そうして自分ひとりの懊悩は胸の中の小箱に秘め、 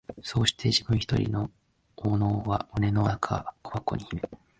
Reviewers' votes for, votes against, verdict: 2, 1, accepted